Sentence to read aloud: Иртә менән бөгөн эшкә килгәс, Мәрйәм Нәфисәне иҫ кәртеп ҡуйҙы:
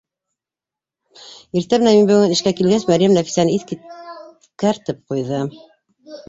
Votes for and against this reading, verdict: 0, 2, rejected